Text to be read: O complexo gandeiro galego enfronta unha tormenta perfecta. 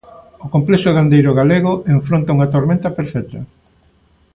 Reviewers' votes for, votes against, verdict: 3, 0, accepted